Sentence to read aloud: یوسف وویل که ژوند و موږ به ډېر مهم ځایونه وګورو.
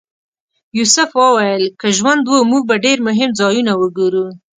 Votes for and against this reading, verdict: 2, 0, accepted